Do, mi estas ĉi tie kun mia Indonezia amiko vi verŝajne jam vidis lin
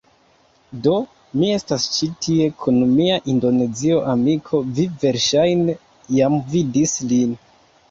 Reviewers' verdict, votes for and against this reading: rejected, 0, 2